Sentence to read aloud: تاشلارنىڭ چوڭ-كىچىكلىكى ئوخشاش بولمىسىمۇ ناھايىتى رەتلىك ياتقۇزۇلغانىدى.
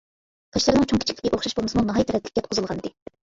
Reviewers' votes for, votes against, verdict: 1, 2, rejected